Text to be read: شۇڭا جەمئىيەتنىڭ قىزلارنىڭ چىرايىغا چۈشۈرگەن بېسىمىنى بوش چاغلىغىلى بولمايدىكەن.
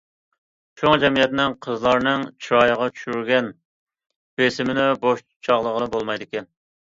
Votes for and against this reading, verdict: 2, 0, accepted